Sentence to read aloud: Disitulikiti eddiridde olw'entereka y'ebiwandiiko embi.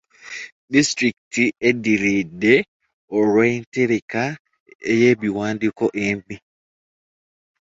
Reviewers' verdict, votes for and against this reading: rejected, 0, 2